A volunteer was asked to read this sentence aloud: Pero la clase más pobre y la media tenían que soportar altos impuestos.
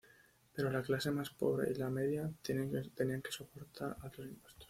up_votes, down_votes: 2, 3